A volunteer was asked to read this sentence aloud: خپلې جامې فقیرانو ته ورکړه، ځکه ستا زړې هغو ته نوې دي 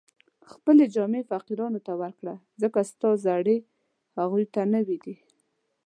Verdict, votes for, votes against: accepted, 2, 0